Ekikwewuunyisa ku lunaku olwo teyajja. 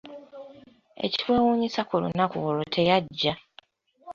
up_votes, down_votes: 2, 1